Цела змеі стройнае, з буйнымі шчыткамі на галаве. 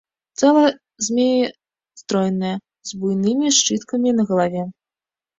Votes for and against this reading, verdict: 0, 2, rejected